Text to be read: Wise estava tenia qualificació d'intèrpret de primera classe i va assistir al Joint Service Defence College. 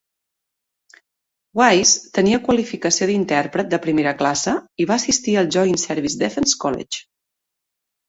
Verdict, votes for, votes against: rejected, 0, 2